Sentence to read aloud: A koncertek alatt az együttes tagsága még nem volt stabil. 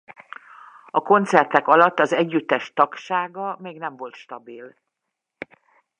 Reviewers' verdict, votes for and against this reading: accepted, 2, 0